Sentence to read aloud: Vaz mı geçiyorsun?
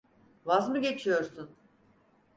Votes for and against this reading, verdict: 6, 0, accepted